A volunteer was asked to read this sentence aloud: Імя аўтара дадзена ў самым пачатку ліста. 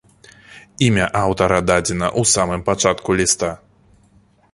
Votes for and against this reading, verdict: 1, 2, rejected